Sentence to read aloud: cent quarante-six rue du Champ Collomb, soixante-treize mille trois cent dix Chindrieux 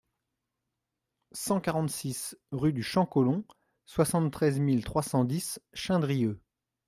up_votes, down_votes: 2, 0